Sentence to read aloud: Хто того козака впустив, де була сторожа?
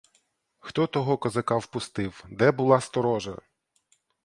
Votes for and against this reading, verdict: 2, 0, accepted